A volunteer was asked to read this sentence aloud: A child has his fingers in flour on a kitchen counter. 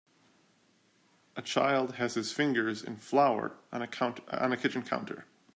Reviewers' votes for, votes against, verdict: 1, 2, rejected